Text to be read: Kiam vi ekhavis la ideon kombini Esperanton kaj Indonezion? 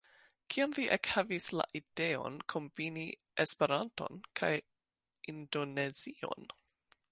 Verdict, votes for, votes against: accepted, 2, 1